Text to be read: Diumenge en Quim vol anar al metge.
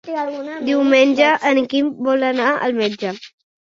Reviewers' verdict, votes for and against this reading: rejected, 0, 2